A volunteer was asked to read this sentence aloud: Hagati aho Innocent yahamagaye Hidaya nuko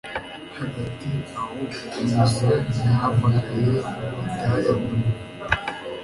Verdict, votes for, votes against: accepted, 2, 1